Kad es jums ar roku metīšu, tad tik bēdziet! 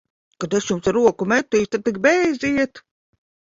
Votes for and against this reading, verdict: 0, 2, rejected